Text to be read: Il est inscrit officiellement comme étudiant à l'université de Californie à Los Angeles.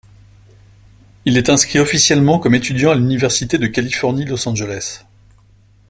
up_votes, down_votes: 0, 2